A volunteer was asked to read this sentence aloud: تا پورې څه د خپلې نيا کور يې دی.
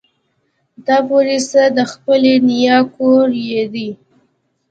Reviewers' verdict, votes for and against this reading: accepted, 2, 0